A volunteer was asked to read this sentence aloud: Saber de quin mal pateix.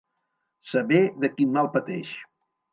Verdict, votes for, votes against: accepted, 2, 0